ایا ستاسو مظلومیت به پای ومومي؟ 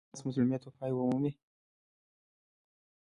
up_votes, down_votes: 1, 2